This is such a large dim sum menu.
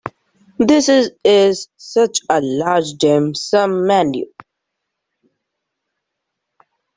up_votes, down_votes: 1, 2